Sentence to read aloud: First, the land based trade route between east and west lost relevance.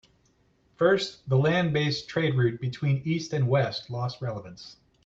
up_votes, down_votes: 2, 0